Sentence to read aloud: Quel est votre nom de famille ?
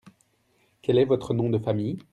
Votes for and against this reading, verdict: 2, 0, accepted